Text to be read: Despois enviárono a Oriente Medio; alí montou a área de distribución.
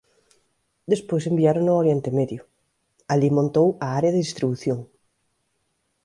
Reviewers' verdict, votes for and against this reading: rejected, 0, 2